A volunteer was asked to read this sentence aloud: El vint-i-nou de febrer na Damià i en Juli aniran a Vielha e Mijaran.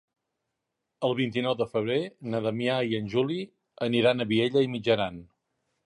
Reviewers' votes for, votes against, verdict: 2, 1, accepted